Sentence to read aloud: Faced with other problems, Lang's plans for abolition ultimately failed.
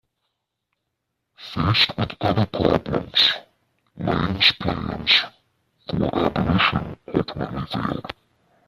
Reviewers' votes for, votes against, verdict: 0, 2, rejected